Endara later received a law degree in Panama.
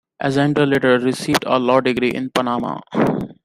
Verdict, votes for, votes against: accepted, 2, 1